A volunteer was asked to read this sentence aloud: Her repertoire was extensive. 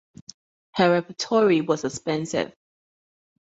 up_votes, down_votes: 0, 4